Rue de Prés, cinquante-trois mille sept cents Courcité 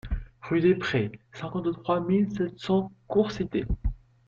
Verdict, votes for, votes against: accepted, 2, 1